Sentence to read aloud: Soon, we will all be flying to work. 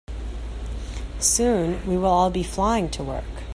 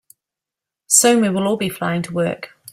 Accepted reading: first